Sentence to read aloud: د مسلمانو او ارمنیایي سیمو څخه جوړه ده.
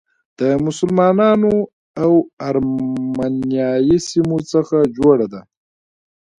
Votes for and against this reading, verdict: 1, 2, rejected